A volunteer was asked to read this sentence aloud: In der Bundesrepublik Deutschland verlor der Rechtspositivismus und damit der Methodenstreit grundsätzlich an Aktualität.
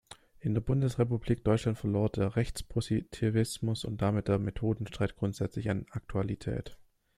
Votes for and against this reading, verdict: 1, 2, rejected